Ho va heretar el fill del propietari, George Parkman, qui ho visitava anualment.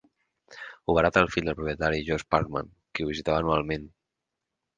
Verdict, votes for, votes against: accepted, 4, 2